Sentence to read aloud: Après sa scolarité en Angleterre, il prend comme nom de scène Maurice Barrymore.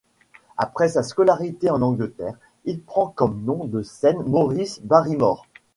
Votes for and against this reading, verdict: 2, 0, accepted